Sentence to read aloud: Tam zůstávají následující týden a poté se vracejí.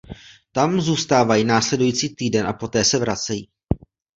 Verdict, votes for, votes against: accepted, 2, 0